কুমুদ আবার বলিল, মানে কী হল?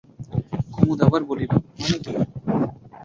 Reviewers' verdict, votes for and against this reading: rejected, 0, 5